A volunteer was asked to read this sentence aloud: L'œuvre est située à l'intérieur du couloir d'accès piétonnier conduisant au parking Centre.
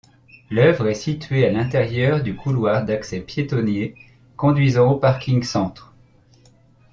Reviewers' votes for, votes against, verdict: 1, 2, rejected